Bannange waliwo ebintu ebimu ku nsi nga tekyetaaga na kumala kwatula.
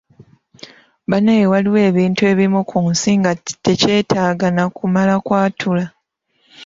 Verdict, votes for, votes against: rejected, 0, 2